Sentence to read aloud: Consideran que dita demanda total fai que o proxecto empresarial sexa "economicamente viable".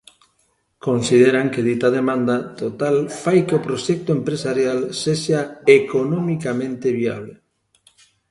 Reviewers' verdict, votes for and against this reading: accepted, 2, 0